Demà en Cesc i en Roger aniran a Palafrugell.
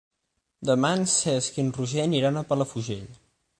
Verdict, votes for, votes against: accepted, 9, 0